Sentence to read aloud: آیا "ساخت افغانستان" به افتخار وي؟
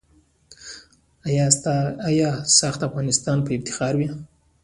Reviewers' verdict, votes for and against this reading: accepted, 2, 1